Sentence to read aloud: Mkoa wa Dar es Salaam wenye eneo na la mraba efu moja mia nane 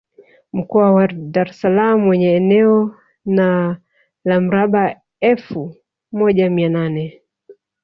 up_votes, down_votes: 2, 0